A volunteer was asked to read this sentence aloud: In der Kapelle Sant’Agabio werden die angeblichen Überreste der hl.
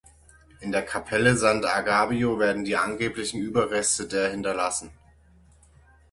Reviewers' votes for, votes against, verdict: 0, 6, rejected